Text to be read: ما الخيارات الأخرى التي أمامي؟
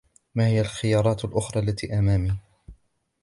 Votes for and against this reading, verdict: 2, 0, accepted